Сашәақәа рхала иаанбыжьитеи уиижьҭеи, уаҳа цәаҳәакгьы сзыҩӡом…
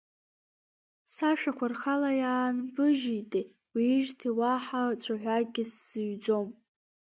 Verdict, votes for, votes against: rejected, 1, 2